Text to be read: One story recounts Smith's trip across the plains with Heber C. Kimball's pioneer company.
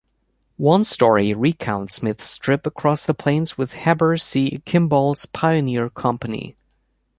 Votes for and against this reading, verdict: 3, 0, accepted